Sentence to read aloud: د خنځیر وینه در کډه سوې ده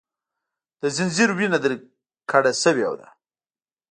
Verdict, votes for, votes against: rejected, 0, 2